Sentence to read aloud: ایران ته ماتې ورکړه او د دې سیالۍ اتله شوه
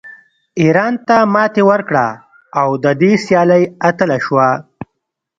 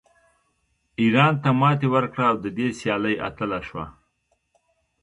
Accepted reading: second